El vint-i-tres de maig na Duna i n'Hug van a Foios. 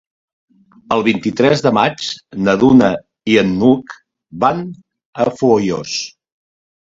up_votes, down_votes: 2, 0